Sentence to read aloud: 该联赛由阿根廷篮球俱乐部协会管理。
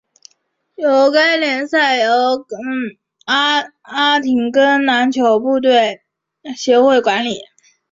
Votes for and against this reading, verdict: 2, 4, rejected